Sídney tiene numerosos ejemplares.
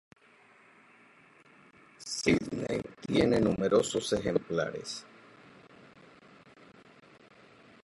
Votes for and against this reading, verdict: 0, 2, rejected